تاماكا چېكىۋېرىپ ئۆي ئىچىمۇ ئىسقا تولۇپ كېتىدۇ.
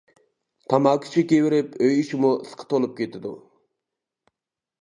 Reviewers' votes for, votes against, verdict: 1, 2, rejected